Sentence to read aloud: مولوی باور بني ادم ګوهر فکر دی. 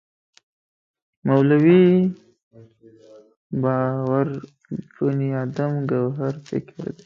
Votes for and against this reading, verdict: 0, 2, rejected